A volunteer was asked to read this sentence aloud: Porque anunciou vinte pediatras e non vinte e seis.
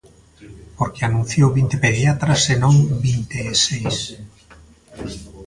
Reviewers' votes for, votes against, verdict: 1, 2, rejected